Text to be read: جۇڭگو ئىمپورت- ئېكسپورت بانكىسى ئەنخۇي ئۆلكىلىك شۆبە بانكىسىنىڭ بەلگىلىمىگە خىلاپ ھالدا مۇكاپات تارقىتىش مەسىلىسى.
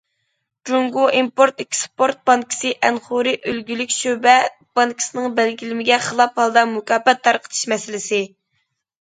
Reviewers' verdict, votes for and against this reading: rejected, 0, 2